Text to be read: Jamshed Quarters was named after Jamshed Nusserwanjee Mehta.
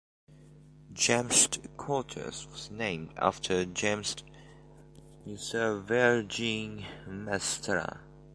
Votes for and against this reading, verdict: 0, 2, rejected